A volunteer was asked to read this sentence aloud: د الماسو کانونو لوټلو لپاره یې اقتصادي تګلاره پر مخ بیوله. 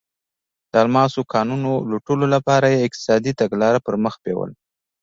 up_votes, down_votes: 2, 0